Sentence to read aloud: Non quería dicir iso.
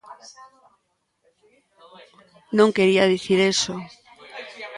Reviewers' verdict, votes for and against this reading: rejected, 0, 2